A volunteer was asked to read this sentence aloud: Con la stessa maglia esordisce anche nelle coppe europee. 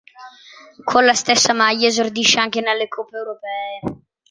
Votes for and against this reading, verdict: 3, 0, accepted